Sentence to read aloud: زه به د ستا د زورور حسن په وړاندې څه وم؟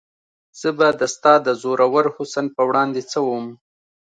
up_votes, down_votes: 2, 0